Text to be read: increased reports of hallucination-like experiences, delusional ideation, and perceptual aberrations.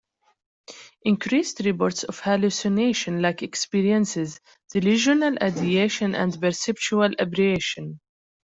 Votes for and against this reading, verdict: 0, 2, rejected